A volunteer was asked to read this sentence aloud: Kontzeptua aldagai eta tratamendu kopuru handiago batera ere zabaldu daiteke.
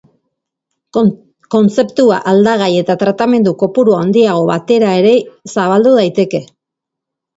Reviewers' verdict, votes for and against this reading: rejected, 0, 2